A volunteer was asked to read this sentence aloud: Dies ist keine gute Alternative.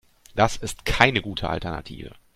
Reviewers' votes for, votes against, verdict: 0, 2, rejected